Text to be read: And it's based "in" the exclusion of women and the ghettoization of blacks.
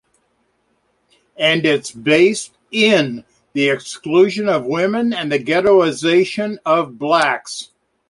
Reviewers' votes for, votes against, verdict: 2, 0, accepted